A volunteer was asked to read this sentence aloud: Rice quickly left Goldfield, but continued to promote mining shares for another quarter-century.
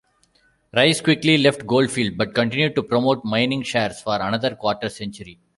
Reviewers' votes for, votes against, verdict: 2, 1, accepted